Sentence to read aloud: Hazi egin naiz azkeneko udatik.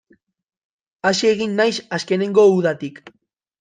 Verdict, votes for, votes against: rejected, 1, 2